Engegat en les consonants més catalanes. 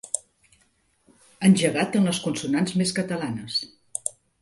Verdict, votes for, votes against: accepted, 2, 0